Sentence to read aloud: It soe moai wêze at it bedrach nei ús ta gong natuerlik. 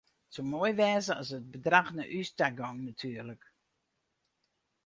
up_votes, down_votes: 2, 4